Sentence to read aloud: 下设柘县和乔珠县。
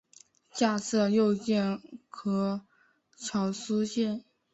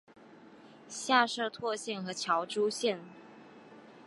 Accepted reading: second